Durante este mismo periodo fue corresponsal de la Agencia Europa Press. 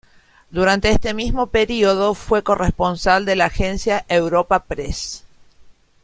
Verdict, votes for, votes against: accepted, 2, 0